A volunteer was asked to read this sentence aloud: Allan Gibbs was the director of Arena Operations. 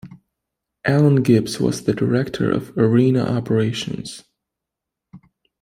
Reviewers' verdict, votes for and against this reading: rejected, 1, 2